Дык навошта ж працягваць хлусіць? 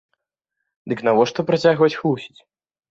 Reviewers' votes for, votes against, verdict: 1, 2, rejected